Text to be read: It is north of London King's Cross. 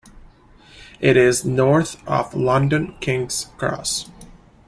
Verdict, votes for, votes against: accepted, 2, 0